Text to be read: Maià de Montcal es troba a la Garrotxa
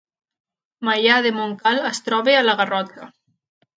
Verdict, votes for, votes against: rejected, 1, 2